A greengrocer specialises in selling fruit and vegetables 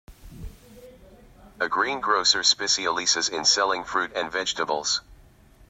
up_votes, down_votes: 0, 2